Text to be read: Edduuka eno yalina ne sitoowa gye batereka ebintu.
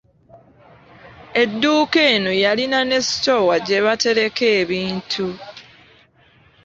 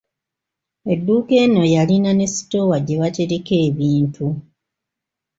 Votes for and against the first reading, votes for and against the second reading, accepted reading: 2, 0, 1, 2, first